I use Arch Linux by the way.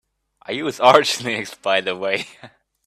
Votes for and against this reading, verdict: 3, 1, accepted